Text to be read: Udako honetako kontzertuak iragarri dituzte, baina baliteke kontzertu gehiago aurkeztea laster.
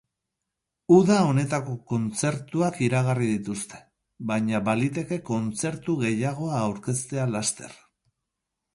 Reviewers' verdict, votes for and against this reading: rejected, 2, 2